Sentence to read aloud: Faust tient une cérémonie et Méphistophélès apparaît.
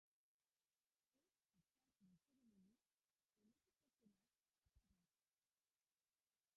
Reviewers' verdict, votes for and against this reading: rejected, 0, 2